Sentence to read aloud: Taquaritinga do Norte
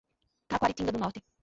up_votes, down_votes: 0, 2